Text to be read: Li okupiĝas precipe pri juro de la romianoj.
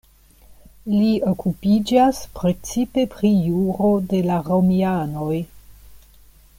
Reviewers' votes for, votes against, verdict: 2, 0, accepted